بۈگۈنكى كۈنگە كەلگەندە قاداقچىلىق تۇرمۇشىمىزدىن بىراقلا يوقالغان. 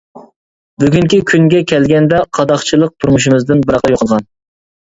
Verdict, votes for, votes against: rejected, 0, 2